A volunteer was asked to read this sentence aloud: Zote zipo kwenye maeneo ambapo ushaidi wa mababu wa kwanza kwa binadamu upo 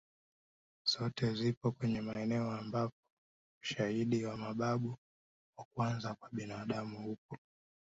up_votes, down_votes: 1, 2